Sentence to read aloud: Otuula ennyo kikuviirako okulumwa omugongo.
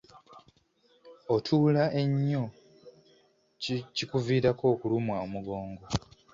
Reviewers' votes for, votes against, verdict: 1, 2, rejected